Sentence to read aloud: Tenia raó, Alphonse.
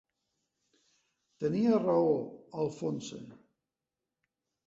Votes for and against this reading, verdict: 2, 1, accepted